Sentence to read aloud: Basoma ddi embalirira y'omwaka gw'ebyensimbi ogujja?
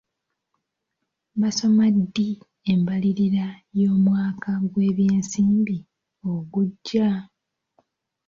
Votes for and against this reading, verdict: 0, 2, rejected